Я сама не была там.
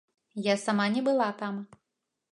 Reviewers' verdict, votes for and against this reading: accepted, 2, 0